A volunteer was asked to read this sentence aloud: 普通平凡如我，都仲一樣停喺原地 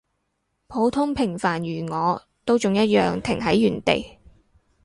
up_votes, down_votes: 6, 0